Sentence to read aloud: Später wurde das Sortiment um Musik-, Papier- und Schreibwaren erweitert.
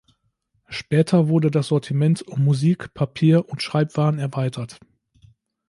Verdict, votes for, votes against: accepted, 2, 0